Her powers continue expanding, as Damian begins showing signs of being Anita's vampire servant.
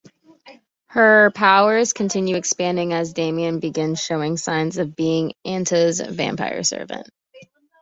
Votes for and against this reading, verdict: 2, 1, accepted